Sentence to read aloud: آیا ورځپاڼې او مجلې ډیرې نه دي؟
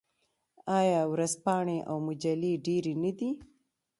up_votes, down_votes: 1, 2